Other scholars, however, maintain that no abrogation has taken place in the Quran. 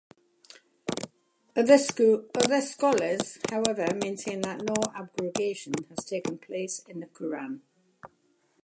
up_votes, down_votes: 1, 2